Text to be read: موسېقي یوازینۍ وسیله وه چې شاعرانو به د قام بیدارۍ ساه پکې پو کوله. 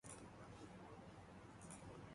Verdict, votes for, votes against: rejected, 0, 2